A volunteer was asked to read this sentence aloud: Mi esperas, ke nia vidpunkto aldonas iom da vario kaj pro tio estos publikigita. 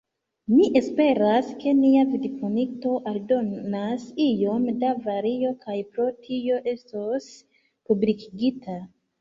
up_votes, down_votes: 1, 2